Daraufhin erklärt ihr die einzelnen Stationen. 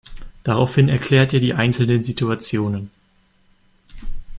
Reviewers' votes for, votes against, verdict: 1, 2, rejected